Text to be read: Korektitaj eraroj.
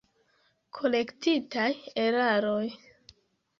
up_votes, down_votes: 3, 0